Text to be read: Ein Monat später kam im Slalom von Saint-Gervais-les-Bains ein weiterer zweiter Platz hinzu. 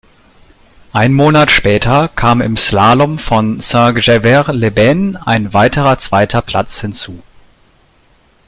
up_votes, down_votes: 1, 2